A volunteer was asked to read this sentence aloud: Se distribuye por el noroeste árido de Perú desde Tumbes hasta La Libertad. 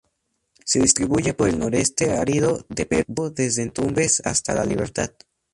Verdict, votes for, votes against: rejected, 0, 2